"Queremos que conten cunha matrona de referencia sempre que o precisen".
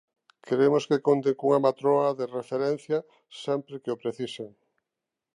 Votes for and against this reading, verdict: 0, 3, rejected